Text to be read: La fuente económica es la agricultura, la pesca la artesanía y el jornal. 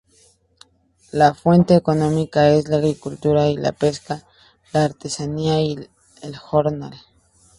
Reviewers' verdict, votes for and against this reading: accepted, 2, 0